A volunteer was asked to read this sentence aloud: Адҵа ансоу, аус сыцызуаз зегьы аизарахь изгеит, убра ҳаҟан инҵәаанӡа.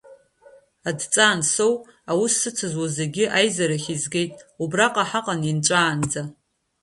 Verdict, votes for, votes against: rejected, 0, 2